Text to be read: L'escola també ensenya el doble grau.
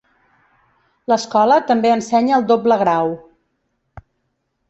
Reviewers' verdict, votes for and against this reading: accepted, 2, 0